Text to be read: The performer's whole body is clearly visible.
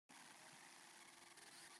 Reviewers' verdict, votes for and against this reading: rejected, 0, 2